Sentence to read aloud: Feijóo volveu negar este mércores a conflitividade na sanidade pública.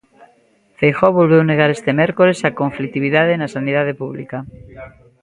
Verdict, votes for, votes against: rejected, 0, 2